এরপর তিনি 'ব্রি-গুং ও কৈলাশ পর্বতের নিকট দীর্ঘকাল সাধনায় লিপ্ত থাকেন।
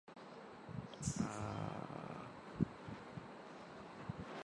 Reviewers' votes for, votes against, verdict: 0, 3, rejected